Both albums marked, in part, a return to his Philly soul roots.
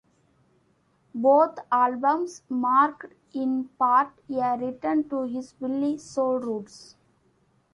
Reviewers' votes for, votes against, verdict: 2, 0, accepted